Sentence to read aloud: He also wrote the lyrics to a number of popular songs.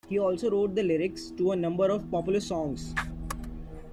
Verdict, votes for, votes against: accepted, 2, 0